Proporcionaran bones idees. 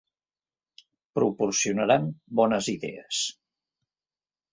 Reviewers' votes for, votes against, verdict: 2, 0, accepted